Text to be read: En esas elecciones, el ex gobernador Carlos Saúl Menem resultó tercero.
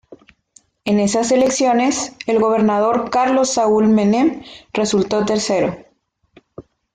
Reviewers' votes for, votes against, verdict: 0, 2, rejected